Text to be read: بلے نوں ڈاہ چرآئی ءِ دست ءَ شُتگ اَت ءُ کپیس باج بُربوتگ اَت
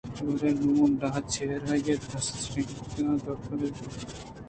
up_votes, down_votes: 1, 2